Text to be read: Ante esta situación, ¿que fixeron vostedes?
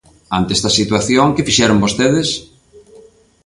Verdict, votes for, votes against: accepted, 2, 0